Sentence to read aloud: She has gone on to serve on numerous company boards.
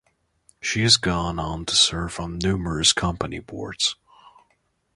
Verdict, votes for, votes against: accepted, 3, 0